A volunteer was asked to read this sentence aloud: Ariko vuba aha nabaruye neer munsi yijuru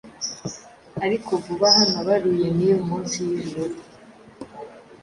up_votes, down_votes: 2, 0